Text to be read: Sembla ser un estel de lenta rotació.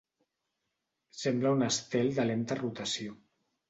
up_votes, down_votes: 0, 2